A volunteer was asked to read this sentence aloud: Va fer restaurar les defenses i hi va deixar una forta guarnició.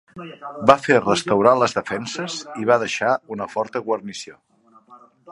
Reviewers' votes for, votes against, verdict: 2, 1, accepted